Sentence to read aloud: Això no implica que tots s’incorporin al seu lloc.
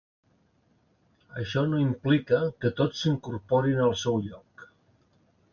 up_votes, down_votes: 2, 0